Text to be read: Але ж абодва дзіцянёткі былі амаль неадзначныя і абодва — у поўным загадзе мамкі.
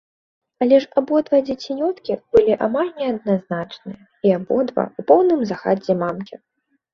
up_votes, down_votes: 0, 2